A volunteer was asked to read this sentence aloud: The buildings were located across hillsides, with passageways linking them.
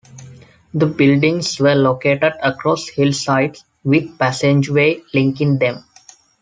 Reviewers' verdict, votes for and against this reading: accepted, 2, 1